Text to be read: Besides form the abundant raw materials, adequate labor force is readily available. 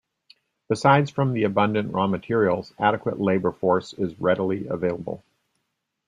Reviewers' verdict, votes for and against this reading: accepted, 2, 0